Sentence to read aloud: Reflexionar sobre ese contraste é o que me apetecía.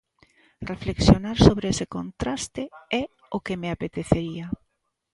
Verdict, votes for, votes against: rejected, 0, 2